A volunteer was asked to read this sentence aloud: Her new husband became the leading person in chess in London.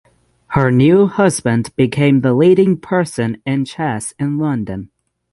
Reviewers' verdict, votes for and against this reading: accepted, 6, 0